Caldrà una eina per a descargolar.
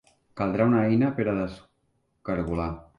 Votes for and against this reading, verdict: 0, 2, rejected